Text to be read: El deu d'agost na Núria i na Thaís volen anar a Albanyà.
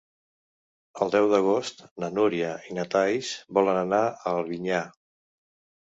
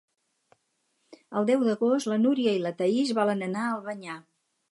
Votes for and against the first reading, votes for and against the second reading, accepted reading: 1, 2, 4, 2, second